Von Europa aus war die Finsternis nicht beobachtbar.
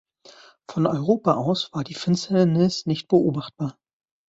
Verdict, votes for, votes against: rejected, 1, 2